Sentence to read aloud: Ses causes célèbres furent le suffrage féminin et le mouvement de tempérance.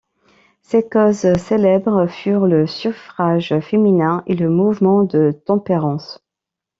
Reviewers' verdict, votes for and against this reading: accepted, 2, 0